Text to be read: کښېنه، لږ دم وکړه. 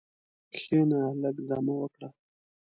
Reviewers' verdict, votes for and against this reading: accepted, 2, 0